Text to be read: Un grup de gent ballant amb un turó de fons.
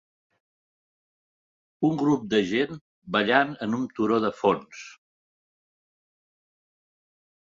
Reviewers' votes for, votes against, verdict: 2, 0, accepted